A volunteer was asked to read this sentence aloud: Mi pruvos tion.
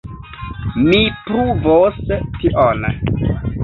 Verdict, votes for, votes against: accepted, 2, 0